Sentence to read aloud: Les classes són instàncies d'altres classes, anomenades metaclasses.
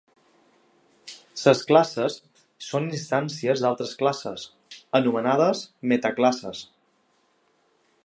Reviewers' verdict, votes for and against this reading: rejected, 1, 2